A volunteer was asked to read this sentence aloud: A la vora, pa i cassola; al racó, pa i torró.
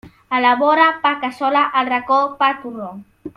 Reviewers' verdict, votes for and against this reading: rejected, 1, 2